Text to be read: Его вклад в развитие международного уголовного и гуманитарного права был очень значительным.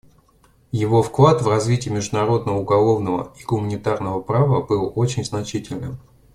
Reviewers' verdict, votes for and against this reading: accepted, 2, 1